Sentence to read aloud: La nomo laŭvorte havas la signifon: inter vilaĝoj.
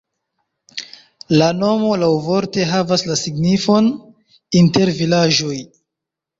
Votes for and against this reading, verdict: 1, 2, rejected